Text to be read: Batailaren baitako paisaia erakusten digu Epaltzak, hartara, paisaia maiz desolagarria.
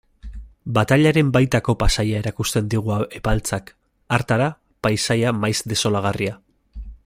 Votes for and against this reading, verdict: 2, 0, accepted